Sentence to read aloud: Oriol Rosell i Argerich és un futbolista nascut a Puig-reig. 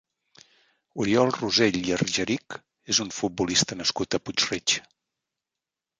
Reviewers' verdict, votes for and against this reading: accepted, 2, 0